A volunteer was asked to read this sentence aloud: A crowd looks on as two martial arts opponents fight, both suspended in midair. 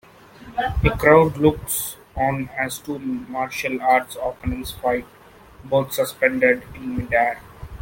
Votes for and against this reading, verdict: 0, 2, rejected